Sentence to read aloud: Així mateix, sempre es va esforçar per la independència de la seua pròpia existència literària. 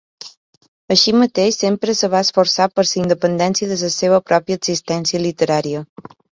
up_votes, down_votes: 1, 2